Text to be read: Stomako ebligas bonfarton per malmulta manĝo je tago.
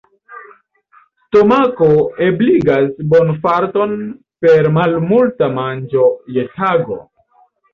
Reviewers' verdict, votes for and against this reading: rejected, 1, 2